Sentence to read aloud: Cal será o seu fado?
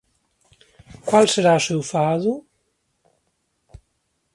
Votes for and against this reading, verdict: 1, 2, rejected